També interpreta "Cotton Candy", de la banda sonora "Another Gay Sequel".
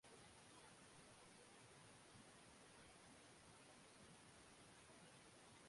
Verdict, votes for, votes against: rejected, 1, 2